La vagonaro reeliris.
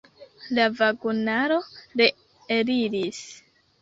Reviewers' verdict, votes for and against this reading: rejected, 0, 2